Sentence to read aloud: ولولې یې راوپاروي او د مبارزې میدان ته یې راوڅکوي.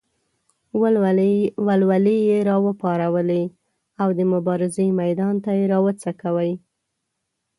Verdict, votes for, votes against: rejected, 0, 2